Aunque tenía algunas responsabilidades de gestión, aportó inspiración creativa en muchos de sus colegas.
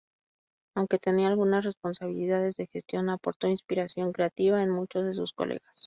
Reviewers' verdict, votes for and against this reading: rejected, 0, 2